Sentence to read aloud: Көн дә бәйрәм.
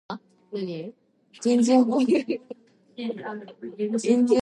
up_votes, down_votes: 0, 2